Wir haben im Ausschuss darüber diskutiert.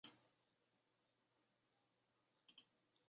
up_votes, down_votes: 0, 2